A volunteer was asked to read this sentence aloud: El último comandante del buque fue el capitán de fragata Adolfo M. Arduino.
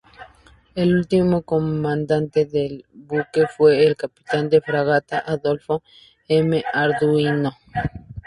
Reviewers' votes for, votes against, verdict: 2, 0, accepted